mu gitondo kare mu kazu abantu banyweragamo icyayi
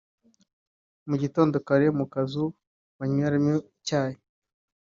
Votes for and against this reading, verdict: 1, 2, rejected